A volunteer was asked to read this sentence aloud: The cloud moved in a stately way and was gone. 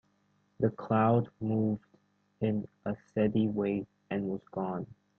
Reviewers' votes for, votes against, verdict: 1, 2, rejected